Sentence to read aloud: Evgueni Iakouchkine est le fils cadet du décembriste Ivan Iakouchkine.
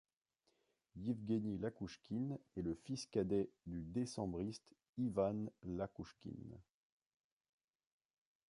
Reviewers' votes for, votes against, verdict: 2, 0, accepted